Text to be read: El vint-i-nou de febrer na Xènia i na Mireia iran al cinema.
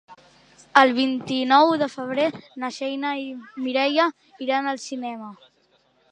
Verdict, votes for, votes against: accepted, 2, 1